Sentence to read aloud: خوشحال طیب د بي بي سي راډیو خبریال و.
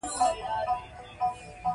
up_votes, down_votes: 0, 2